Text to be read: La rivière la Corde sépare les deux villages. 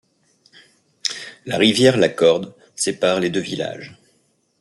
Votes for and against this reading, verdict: 2, 1, accepted